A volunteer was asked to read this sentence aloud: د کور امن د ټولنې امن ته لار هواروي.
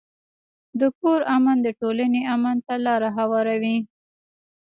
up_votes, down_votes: 1, 2